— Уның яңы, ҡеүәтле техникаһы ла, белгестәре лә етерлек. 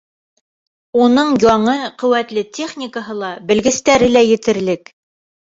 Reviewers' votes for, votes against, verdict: 2, 0, accepted